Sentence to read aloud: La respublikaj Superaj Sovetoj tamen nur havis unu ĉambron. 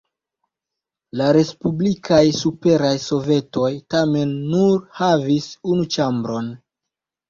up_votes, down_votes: 2, 0